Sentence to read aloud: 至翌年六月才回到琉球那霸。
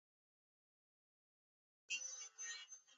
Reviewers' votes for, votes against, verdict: 1, 4, rejected